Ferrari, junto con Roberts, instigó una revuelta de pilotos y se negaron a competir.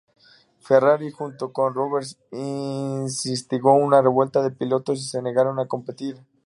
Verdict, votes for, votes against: rejected, 0, 2